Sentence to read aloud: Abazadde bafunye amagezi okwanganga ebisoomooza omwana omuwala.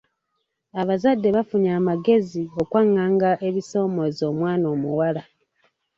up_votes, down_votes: 1, 2